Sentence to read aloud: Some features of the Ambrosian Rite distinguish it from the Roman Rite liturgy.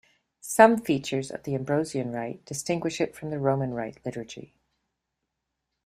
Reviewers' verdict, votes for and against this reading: accepted, 2, 0